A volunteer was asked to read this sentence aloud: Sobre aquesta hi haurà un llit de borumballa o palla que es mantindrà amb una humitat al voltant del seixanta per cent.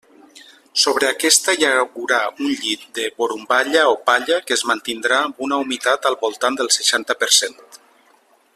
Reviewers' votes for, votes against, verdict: 1, 2, rejected